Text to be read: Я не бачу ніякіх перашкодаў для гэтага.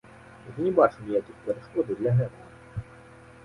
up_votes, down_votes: 0, 2